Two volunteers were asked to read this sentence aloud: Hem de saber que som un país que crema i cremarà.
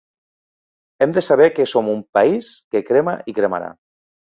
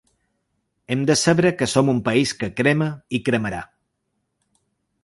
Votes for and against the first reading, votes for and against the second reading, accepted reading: 3, 0, 1, 2, first